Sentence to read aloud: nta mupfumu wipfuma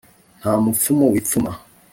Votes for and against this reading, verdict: 2, 0, accepted